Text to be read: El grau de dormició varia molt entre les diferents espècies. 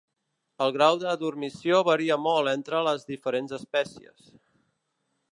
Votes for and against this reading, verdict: 2, 0, accepted